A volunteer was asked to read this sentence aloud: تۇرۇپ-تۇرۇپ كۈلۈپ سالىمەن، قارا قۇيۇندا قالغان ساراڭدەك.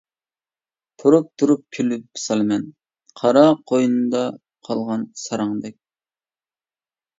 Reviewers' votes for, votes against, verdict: 1, 2, rejected